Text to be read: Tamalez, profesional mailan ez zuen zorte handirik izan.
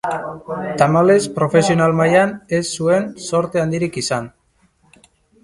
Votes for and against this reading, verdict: 1, 2, rejected